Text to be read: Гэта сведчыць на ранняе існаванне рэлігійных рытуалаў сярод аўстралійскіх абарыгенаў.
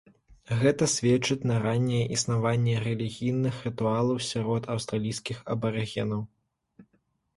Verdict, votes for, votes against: accepted, 2, 0